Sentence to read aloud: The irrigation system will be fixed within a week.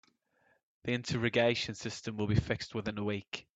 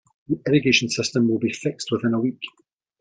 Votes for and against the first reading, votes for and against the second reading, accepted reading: 0, 2, 2, 0, second